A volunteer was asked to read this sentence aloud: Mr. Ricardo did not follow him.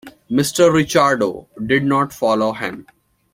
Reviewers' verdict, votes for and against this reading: rejected, 0, 2